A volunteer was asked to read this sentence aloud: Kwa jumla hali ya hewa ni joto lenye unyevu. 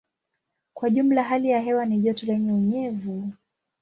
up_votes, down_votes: 2, 0